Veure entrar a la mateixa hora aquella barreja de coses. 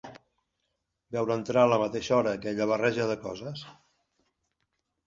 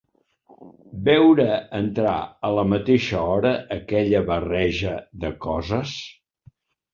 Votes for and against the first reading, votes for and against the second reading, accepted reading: 2, 0, 1, 2, first